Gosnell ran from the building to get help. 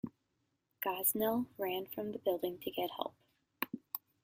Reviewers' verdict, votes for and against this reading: accepted, 2, 0